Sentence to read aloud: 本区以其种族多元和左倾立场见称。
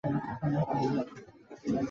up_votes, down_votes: 1, 2